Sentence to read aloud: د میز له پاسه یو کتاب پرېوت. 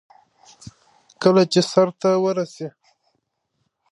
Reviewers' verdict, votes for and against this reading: rejected, 0, 2